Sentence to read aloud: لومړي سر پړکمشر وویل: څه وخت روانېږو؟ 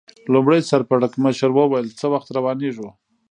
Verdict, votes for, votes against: accepted, 2, 0